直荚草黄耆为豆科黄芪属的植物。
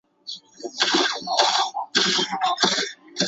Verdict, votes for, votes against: rejected, 0, 5